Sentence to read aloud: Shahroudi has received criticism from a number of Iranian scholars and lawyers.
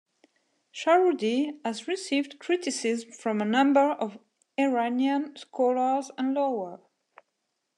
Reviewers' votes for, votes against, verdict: 1, 2, rejected